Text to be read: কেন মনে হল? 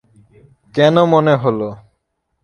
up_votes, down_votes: 3, 0